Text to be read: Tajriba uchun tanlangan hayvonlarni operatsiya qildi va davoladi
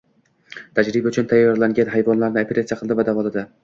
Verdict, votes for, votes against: accepted, 2, 0